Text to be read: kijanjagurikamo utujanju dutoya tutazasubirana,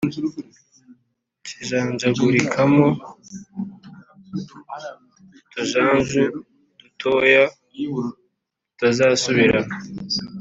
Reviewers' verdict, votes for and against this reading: accepted, 2, 0